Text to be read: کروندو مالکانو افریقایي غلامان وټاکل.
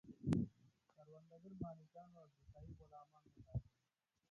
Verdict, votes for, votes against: rejected, 0, 6